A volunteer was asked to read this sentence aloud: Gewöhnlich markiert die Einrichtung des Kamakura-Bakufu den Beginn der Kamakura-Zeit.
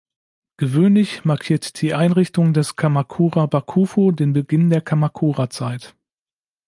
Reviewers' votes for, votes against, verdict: 2, 0, accepted